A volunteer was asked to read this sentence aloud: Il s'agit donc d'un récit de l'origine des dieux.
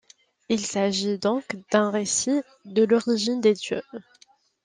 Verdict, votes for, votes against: accepted, 2, 0